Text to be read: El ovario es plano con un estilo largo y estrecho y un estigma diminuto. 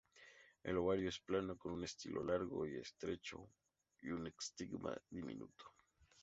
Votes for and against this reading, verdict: 2, 0, accepted